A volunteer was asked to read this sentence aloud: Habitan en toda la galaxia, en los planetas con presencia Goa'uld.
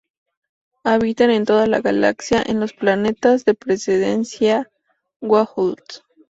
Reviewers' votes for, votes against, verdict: 0, 2, rejected